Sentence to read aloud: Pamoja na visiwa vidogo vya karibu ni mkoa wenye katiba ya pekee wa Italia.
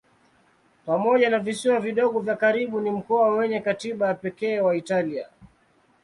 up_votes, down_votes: 2, 0